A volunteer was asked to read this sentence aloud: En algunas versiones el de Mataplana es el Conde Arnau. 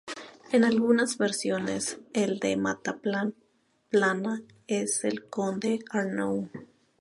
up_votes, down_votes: 0, 2